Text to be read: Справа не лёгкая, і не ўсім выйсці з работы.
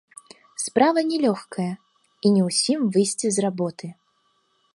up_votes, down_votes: 3, 0